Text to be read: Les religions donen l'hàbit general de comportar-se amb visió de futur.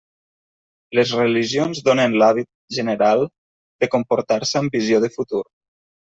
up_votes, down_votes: 2, 0